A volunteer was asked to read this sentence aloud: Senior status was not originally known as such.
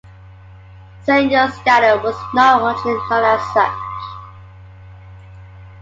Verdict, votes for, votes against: rejected, 1, 2